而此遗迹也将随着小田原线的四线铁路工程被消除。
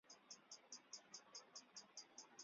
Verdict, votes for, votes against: rejected, 0, 3